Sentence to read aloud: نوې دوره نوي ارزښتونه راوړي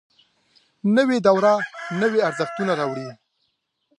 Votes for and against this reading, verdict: 0, 2, rejected